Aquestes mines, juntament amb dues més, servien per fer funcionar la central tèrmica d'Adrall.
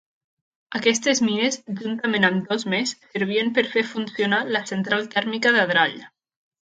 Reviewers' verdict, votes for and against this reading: rejected, 1, 2